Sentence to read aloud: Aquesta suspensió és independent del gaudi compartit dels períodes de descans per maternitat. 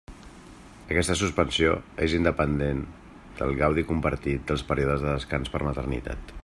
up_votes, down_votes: 2, 0